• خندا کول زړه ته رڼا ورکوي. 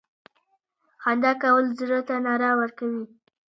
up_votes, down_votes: 2, 0